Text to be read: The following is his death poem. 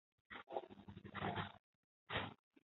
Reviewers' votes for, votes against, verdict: 0, 2, rejected